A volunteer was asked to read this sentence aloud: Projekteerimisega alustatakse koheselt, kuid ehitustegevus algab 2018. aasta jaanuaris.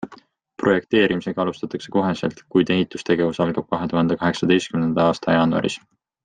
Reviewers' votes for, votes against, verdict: 0, 2, rejected